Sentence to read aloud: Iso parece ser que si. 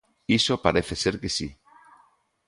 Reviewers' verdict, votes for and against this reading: accepted, 2, 0